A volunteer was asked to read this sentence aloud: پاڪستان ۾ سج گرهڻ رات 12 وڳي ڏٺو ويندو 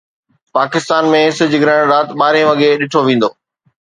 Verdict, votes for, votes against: rejected, 0, 2